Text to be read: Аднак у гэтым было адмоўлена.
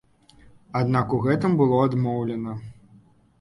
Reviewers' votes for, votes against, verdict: 2, 0, accepted